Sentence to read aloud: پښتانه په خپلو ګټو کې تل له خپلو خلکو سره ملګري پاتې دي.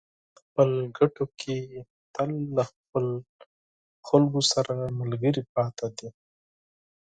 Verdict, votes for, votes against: rejected, 0, 4